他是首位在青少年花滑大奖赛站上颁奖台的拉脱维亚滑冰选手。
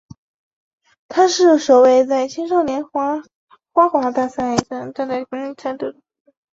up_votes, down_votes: 2, 1